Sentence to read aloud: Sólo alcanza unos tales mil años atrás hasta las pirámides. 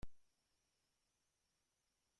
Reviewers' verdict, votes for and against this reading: rejected, 0, 2